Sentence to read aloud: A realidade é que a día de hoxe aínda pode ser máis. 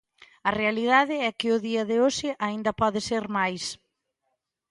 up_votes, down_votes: 0, 3